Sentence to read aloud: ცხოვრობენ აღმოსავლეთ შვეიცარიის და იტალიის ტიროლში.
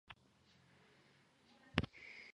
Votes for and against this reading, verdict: 2, 1, accepted